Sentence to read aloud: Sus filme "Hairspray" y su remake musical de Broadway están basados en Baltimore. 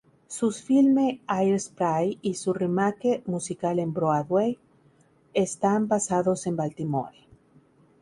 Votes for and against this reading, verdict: 0, 2, rejected